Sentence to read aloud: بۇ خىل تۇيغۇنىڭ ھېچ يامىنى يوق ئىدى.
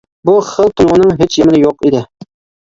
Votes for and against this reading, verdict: 1, 2, rejected